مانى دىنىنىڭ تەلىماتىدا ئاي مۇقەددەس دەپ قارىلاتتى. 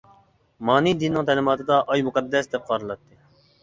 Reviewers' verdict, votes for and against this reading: accepted, 2, 0